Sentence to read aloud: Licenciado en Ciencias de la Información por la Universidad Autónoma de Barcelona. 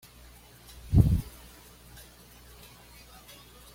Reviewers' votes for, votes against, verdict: 1, 2, rejected